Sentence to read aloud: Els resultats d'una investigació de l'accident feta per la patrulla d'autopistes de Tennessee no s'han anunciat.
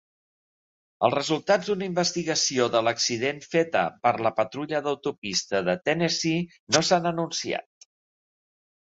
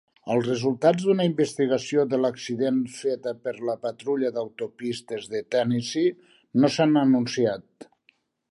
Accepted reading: second